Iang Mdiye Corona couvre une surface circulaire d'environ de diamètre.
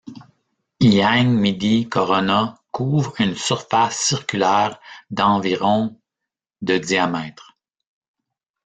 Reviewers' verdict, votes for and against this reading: rejected, 0, 2